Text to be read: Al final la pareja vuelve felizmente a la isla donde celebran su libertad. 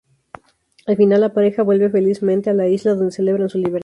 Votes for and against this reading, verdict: 0, 2, rejected